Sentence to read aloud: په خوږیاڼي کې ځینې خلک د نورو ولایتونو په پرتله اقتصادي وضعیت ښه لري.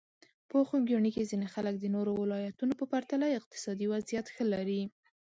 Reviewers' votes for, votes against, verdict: 2, 0, accepted